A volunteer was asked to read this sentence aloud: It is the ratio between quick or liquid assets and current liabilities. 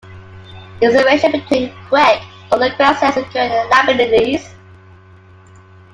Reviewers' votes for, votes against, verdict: 1, 2, rejected